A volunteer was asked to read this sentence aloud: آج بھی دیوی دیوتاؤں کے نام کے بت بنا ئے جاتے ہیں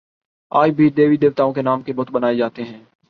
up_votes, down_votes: 2, 0